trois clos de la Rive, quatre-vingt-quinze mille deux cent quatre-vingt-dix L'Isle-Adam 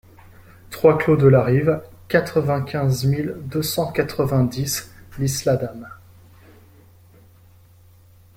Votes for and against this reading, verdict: 1, 2, rejected